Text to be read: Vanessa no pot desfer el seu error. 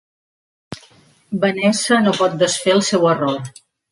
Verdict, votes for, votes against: accepted, 3, 0